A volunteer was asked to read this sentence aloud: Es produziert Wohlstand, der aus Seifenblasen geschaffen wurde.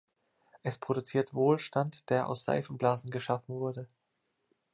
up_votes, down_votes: 2, 0